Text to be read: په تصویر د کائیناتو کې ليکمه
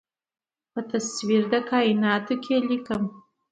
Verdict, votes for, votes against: accepted, 2, 0